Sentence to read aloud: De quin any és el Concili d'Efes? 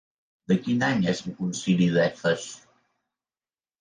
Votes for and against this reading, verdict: 1, 2, rejected